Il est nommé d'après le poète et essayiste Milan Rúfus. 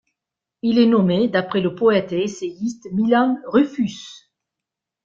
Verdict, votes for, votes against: accepted, 2, 0